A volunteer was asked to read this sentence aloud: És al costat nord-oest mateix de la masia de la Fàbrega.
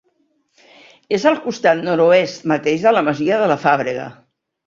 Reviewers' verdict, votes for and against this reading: rejected, 1, 2